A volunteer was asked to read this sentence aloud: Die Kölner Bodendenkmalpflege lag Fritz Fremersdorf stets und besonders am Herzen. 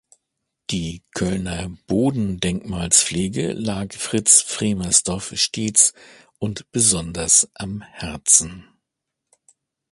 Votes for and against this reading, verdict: 0, 2, rejected